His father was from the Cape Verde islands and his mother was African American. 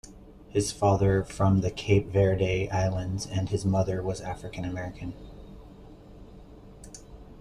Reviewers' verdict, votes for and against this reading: rejected, 0, 2